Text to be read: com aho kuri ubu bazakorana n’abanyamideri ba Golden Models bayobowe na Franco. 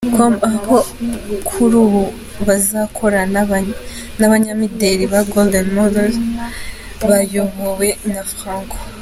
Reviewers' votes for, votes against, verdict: 0, 2, rejected